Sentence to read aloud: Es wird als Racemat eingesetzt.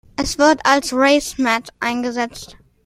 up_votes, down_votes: 2, 0